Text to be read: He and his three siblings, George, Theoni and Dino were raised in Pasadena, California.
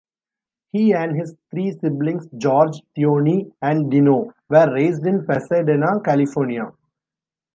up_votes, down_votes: 2, 0